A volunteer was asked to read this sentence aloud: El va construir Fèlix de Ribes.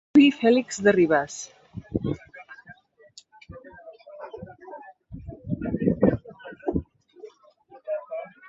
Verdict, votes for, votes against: rejected, 1, 2